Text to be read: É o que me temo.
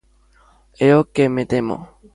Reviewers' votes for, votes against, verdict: 2, 0, accepted